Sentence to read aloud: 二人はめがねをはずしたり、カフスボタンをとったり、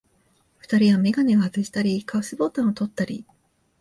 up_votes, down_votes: 4, 0